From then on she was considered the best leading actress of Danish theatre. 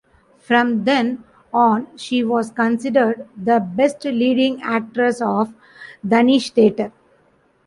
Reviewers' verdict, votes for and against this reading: rejected, 1, 2